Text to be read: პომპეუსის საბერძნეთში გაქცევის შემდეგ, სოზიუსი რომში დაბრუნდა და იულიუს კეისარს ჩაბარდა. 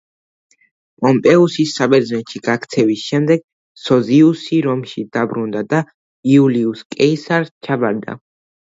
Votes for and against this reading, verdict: 2, 0, accepted